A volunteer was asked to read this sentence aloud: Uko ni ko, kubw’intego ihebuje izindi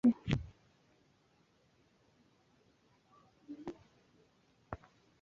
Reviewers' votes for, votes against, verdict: 1, 2, rejected